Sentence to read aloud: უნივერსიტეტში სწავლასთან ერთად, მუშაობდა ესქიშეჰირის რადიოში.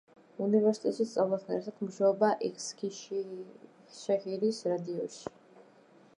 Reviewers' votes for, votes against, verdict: 1, 2, rejected